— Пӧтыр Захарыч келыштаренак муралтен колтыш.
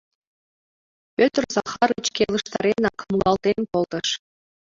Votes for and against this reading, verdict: 2, 0, accepted